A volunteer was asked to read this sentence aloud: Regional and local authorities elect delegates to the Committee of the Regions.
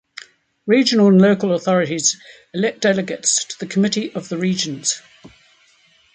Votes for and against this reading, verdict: 2, 0, accepted